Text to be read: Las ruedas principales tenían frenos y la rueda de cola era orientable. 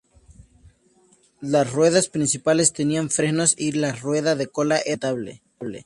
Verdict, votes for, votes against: rejected, 2, 4